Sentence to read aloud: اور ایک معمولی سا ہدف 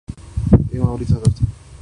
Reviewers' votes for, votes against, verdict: 1, 2, rejected